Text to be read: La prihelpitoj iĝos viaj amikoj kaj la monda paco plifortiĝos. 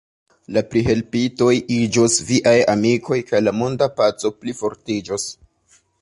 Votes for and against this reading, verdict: 1, 2, rejected